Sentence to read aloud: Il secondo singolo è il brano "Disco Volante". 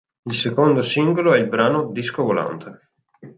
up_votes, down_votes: 2, 0